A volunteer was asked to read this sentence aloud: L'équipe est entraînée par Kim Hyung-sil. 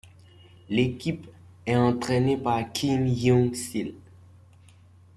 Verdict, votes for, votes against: accepted, 2, 0